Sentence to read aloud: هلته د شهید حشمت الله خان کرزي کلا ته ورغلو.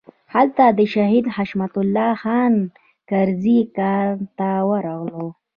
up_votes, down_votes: 1, 2